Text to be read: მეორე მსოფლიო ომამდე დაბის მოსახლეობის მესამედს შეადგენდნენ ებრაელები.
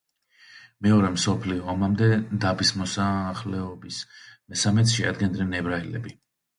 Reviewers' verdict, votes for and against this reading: rejected, 1, 2